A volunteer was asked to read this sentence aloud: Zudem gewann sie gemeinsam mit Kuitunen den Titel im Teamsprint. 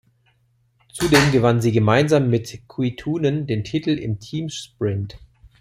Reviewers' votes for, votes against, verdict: 2, 0, accepted